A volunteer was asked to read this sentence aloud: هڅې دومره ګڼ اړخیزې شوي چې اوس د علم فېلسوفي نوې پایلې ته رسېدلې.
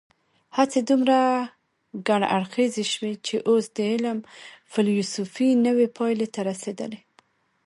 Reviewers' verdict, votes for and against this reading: rejected, 0, 2